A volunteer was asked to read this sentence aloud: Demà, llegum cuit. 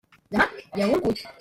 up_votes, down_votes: 0, 2